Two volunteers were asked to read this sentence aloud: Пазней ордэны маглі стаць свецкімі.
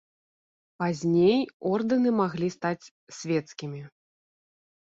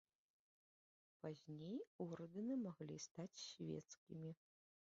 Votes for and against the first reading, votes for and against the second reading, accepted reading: 2, 0, 0, 2, first